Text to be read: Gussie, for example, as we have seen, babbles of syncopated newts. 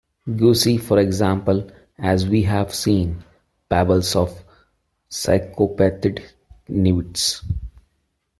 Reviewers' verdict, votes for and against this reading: rejected, 0, 2